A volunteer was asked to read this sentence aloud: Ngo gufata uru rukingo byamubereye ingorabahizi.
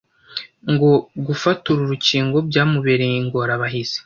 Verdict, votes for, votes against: accepted, 2, 0